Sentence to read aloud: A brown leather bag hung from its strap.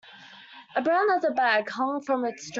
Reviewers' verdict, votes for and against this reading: rejected, 0, 2